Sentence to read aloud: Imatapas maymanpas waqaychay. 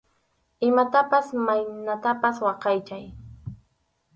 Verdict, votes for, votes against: rejected, 2, 2